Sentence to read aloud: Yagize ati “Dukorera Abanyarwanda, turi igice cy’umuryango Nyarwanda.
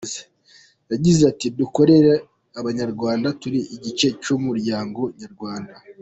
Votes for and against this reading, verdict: 2, 1, accepted